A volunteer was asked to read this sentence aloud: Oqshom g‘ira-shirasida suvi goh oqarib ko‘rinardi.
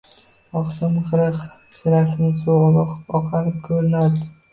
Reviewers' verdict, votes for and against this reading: rejected, 0, 2